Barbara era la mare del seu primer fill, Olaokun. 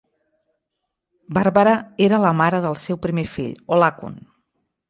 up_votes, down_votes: 1, 2